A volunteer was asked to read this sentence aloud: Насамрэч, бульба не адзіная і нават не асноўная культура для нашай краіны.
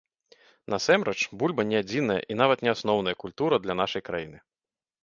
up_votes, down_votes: 1, 2